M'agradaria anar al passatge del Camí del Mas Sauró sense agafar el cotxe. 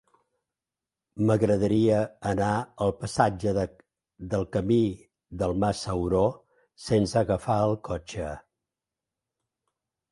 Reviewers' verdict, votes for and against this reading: rejected, 1, 2